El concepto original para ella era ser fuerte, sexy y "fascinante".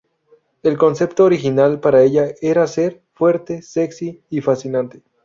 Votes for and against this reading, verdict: 2, 0, accepted